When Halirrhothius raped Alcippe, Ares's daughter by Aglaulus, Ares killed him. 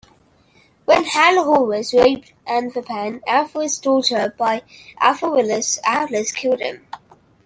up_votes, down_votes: 1, 2